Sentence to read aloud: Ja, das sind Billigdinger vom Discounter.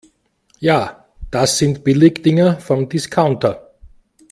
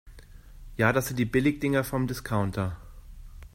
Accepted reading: first